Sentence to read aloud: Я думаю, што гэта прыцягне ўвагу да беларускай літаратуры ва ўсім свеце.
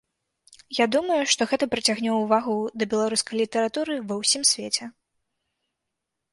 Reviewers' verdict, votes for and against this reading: accepted, 2, 1